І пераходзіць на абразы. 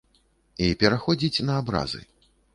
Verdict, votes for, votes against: accepted, 2, 0